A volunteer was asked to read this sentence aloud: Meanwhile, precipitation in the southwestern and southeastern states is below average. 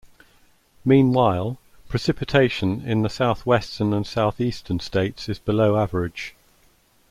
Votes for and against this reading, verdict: 2, 0, accepted